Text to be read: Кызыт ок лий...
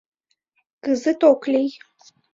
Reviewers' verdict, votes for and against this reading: accepted, 2, 1